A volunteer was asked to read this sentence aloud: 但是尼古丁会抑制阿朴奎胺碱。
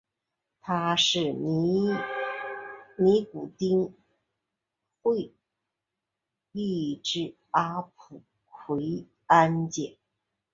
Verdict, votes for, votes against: rejected, 1, 2